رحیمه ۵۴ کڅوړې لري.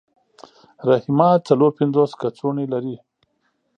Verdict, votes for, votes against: rejected, 0, 2